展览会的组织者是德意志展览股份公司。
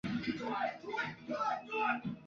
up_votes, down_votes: 0, 3